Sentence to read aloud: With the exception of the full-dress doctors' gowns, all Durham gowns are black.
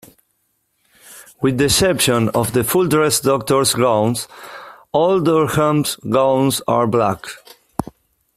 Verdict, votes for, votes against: rejected, 1, 2